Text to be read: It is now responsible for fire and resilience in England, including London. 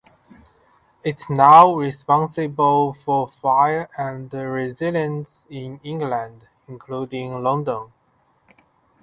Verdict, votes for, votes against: rejected, 0, 2